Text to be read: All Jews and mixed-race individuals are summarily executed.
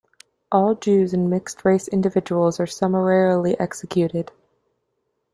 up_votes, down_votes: 0, 2